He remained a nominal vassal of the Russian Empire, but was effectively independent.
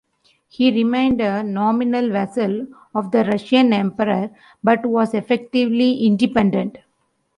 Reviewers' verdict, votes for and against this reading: rejected, 1, 2